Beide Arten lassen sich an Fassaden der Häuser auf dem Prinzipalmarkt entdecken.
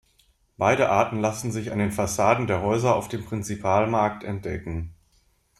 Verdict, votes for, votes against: rejected, 0, 2